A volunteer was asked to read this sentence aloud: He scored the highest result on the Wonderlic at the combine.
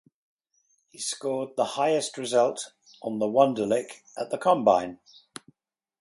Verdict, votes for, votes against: accepted, 4, 0